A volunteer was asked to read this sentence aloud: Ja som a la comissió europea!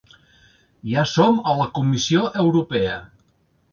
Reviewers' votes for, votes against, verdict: 3, 1, accepted